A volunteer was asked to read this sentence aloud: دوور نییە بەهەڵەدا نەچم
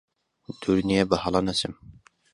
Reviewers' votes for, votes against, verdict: 1, 2, rejected